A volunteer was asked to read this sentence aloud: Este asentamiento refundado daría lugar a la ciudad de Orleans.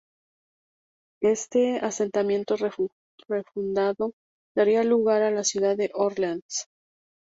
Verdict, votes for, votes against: rejected, 0, 4